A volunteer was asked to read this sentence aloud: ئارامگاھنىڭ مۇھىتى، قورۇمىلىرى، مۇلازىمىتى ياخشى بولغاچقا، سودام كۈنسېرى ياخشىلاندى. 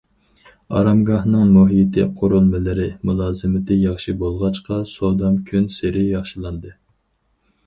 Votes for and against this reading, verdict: 2, 2, rejected